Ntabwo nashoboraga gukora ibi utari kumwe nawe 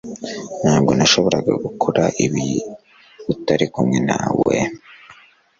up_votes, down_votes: 3, 0